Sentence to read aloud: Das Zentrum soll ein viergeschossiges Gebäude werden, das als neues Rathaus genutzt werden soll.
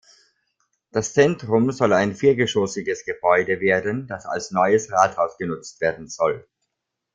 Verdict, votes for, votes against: accepted, 2, 0